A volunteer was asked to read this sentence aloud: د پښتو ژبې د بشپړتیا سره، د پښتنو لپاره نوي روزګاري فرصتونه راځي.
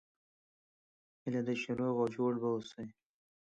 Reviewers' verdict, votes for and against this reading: rejected, 1, 2